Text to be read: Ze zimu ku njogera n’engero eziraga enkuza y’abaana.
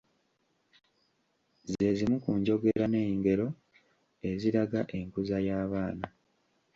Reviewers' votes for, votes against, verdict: 2, 1, accepted